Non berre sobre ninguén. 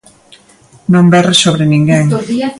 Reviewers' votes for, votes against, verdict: 1, 2, rejected